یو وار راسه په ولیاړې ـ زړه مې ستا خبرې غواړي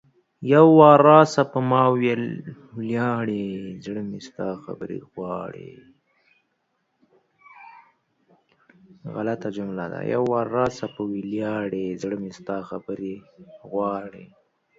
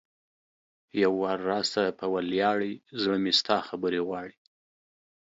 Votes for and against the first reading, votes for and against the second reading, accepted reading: 1, 2, 2, 0, second